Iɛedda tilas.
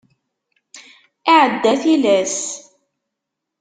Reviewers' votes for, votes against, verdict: 2, 0, accepted